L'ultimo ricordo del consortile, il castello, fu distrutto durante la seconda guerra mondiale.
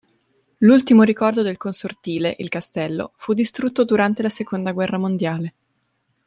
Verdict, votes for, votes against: accepted, 2, 0